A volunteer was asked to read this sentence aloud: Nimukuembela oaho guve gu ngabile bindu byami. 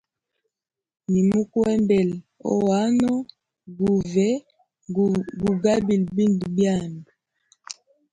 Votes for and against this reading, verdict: 0, 2, rejected